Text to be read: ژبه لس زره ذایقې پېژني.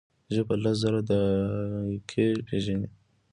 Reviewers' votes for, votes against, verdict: 2, 0, accepted